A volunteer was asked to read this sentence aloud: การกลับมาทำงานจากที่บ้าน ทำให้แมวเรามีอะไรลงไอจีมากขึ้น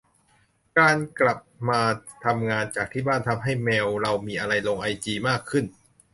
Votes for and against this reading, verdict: 2, 0, accepted